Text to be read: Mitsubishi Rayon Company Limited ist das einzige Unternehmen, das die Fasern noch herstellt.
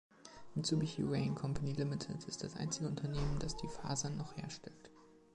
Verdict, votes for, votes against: accepted, 2, 0